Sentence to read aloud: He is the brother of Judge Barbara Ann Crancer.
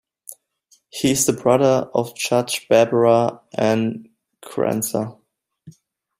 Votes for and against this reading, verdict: 2, 0, accepted